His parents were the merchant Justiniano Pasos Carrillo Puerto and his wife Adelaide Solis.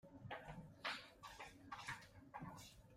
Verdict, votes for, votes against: rejected, 0, 2